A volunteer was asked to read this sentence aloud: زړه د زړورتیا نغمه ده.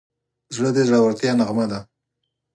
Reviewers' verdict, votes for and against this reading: accepted, 4, 0